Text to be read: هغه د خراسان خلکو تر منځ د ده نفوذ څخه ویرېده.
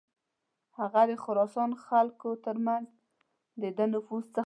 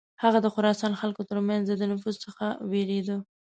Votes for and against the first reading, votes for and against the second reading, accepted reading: 0, 2, 2, 0, second